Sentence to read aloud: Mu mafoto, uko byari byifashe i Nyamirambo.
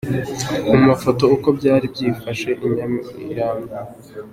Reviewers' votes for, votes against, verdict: 2, 0, accepted